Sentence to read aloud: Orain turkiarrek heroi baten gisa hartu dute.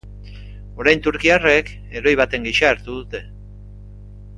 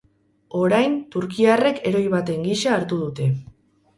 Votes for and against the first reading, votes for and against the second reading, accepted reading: 2, 0, 0, 2, first